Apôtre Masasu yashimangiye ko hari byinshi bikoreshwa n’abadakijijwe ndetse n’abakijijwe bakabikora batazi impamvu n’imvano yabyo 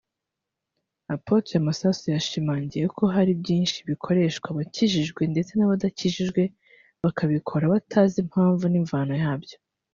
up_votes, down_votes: 1, 2